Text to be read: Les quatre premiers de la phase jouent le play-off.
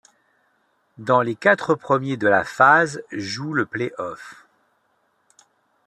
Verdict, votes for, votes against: rejected, 0, 2